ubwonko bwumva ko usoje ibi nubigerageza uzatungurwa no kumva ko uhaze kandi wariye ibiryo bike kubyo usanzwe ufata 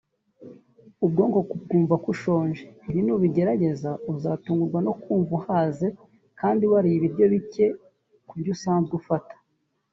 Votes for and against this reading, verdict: 3, 2, accepted